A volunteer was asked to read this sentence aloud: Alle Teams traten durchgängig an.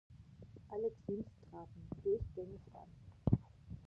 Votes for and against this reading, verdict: 0, 2, rejected